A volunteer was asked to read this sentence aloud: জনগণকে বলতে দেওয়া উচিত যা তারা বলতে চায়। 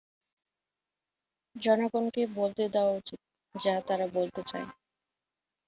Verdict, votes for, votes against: accepted, 2, 0